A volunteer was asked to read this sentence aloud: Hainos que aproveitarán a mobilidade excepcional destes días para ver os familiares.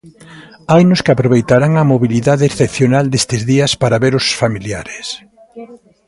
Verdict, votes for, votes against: accepted, 2, 1